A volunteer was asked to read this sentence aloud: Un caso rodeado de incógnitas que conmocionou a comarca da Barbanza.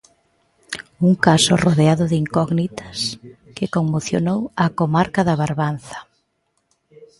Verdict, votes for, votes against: rejected, 1, 2